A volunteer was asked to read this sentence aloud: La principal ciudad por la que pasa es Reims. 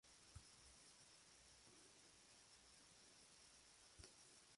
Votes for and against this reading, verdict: 0, 2, rejected